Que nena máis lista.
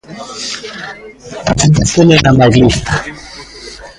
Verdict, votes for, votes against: rejected, 0, 2